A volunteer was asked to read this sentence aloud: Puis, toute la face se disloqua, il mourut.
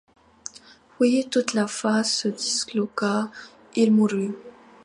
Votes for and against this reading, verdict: 2, 0, accepted